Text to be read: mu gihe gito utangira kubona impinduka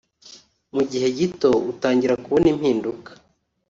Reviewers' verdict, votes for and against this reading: accepted, 3, 0